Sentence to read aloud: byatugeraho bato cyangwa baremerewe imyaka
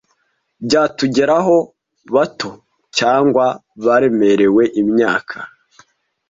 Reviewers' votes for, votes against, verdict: 2, 0, accepted